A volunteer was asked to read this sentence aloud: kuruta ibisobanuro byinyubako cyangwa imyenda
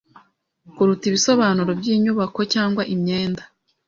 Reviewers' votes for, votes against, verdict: 2, 0, accepted